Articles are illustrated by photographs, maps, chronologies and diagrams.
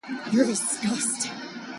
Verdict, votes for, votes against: rejected, 0, 2